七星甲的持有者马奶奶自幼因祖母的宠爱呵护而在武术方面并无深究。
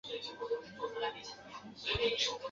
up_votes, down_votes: 1, 2